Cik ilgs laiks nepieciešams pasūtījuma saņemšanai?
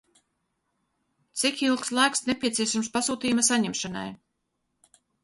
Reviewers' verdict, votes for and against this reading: accepted, 2, 0